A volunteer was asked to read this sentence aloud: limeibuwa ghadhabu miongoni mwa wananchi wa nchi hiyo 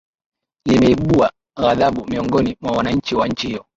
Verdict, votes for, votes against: accepted, 5, 0